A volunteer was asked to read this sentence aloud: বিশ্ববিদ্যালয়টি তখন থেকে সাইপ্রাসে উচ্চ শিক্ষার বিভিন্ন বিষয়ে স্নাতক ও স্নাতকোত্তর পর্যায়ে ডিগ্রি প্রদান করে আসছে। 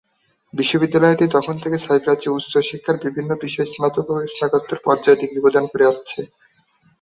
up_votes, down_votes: 2, 3